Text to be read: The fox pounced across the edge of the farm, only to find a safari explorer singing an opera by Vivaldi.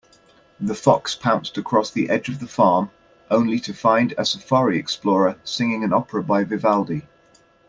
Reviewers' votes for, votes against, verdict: 2, 1, accepted